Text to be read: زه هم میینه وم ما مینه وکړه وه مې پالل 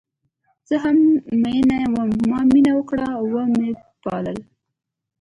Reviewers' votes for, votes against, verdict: 2, 0, accepted